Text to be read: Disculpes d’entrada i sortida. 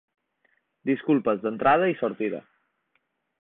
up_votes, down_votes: 2, 0